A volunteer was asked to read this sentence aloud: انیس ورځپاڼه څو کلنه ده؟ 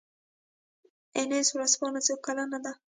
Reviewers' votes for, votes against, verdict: 2, 0, accepted